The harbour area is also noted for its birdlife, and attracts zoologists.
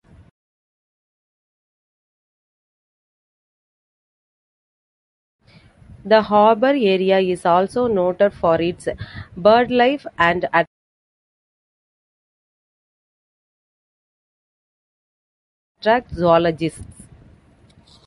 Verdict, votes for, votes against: rejected, 0, 2